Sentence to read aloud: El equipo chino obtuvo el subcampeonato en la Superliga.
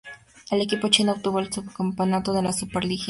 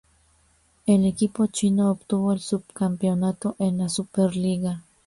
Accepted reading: second